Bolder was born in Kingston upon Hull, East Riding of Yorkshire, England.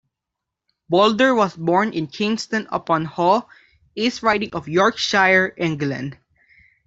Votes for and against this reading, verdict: 2, 0, accepted